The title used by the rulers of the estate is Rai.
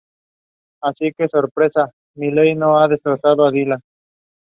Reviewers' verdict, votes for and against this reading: rejected, 0, 2